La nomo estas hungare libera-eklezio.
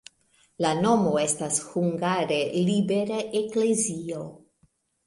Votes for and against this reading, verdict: 2, 0, accepted